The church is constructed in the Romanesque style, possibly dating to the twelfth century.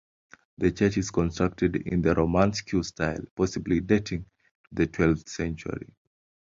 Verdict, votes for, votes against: accepted, 2, 0